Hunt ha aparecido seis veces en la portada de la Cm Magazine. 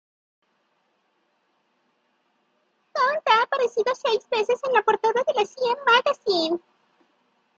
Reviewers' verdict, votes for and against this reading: rejected, 0, 2